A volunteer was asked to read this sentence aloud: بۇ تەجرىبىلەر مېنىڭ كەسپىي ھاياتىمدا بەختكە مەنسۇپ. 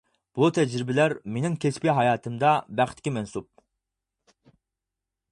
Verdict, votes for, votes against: accepted, 4, 0